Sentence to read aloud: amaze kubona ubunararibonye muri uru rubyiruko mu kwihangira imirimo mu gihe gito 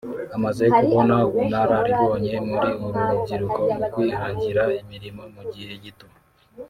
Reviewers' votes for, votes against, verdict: 0, 2, rejected